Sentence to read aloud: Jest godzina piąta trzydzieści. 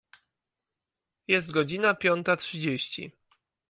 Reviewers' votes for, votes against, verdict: 2, 0, accepted